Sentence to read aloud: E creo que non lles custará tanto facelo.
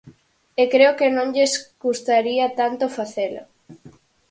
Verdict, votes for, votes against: rejected, 0, 4